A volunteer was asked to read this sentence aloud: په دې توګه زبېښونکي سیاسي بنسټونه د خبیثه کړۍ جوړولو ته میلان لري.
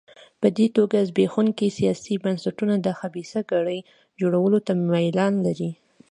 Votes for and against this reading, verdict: 2, 0, accepted